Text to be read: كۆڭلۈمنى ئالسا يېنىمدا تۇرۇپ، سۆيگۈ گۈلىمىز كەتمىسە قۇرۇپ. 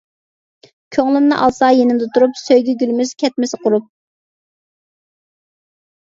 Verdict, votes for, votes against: accepted, 2, 1